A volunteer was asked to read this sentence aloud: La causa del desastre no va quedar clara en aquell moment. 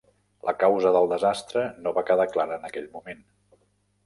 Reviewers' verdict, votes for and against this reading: accepted, 3, 0